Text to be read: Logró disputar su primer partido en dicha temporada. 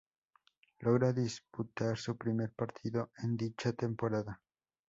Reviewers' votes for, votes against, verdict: 0, 2, rejected